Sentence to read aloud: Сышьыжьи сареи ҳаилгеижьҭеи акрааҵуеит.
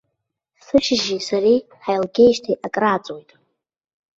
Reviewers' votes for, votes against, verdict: 1, 2, rejected